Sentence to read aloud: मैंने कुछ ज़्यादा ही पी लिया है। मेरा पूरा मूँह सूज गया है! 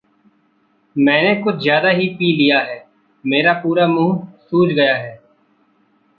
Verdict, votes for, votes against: accepted, 2, 0